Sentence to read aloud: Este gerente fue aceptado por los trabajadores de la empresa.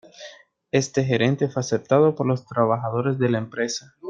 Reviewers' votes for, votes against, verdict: 2, 0, accepted